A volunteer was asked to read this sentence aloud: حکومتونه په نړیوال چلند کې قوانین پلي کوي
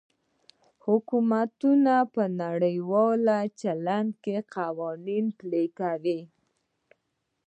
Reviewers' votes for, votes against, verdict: 1, 2, rejected